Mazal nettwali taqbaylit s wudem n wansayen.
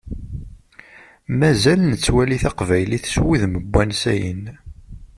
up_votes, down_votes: 2, 0